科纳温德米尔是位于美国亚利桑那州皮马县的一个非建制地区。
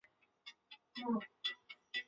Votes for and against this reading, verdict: 0, 6, rejected